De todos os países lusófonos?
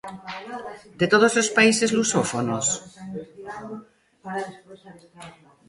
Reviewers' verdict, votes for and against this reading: rejected, 1, 2